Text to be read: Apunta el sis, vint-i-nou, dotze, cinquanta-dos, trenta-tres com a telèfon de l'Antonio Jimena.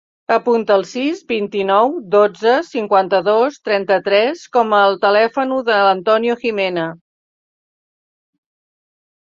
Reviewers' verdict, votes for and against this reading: rejected, 0, 2